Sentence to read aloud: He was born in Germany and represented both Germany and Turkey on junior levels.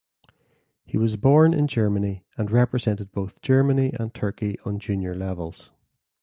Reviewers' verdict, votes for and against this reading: accepted, 2, 0